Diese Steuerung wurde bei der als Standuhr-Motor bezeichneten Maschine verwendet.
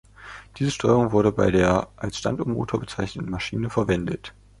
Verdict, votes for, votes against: accepted, 2, 1